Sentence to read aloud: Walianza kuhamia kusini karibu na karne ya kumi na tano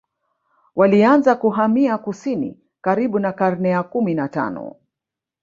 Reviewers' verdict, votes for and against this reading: rejected, 1, 2